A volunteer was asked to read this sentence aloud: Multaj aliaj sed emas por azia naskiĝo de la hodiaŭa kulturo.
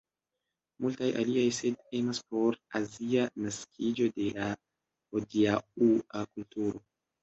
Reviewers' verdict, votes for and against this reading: rejected, 0, 3